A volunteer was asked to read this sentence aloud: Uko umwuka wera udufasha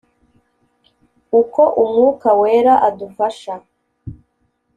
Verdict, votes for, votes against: rejected, 1, 2